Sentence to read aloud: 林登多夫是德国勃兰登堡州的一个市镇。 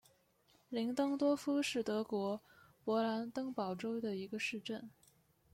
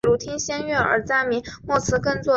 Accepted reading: first